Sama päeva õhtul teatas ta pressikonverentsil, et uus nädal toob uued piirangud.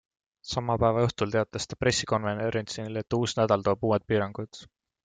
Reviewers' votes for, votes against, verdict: 0, 2, rejected